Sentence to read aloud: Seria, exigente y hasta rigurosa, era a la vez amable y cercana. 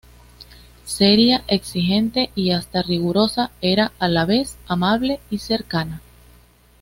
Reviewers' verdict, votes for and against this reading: accepted, 2, 0